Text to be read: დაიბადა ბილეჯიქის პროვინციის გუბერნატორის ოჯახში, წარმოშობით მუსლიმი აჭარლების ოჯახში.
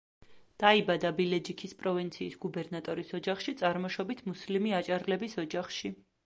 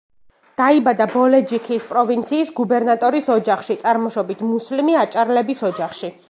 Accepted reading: first